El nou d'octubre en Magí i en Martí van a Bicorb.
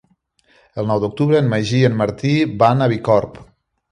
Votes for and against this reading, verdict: 3, 0, accepted